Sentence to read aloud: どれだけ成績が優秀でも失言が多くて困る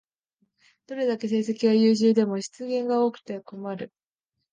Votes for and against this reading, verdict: 2, 1, accepted